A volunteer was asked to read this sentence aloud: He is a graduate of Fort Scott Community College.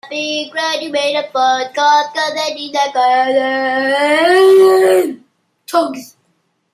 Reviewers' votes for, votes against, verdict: 0, 2, rejected